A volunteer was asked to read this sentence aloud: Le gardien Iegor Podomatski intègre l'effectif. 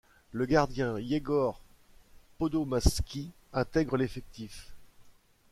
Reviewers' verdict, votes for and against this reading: rejected, 1, 2